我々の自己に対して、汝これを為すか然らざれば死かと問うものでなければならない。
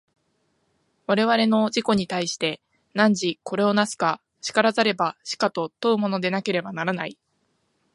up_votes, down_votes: 2, 0